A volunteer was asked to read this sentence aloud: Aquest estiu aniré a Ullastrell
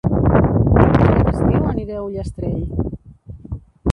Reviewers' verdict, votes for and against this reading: rejected, 1, 2